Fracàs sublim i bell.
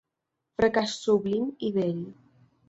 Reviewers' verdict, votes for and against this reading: accepted, 2, 0